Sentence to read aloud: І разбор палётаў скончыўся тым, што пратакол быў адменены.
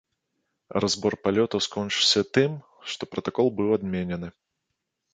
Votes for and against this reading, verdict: 2, 1, accepted